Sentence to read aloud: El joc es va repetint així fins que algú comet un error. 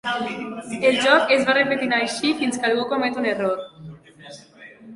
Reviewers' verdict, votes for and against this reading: rejected, 0, 2